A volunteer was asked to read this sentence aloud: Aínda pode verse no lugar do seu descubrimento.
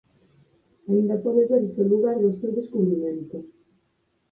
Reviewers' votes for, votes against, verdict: 0, 4, rejected